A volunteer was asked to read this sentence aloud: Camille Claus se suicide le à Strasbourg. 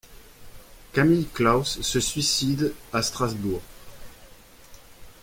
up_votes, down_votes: 1, 2